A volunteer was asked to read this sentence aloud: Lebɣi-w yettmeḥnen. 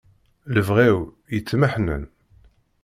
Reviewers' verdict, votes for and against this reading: accepted, 2, 0